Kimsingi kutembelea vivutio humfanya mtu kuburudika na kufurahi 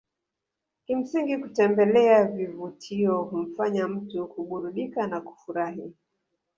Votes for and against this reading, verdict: 3, 2, accepted